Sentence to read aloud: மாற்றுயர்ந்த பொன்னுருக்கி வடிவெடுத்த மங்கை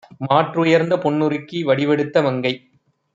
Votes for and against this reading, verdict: 2, 0, accepted